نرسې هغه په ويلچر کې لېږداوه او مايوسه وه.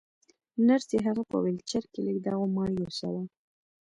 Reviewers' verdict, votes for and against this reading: rejected, 1, 2